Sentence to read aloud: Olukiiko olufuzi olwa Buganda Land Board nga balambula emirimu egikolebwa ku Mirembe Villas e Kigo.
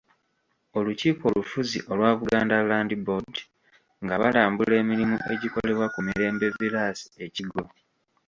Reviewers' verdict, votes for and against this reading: rejected, 1, 2